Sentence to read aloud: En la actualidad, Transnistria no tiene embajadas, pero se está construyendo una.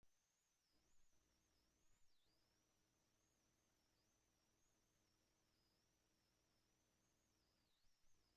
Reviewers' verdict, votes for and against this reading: rejected, 0, 2